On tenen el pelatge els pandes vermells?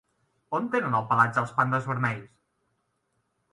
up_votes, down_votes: 3, 0